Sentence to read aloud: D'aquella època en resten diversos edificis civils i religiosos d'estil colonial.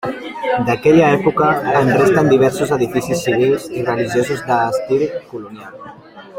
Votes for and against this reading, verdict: 0, 2, rejected